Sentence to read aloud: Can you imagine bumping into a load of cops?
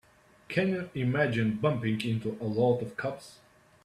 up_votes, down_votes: 3, 1